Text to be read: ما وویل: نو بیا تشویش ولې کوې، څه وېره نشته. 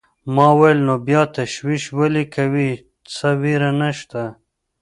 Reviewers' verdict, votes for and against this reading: accepted, 2, 0